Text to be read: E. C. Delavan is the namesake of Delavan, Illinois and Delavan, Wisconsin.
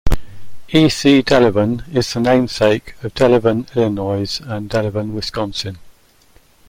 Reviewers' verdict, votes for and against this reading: accepted, 2, 0